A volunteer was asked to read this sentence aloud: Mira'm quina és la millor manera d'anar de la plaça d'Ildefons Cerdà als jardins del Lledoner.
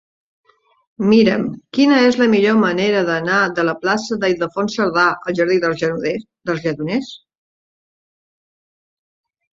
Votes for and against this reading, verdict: 1, 6, rejected